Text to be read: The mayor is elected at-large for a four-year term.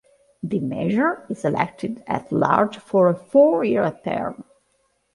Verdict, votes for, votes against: rejected, 1, 2